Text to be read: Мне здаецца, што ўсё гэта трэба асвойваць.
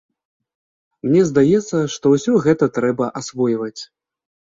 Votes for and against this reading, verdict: 2, 0, accepted